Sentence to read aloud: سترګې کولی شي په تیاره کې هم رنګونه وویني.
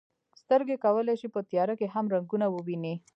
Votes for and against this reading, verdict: 0, 2, rejected